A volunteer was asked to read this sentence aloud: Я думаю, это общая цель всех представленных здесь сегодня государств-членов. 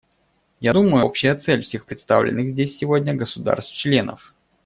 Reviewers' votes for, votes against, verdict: 1, 2, rejected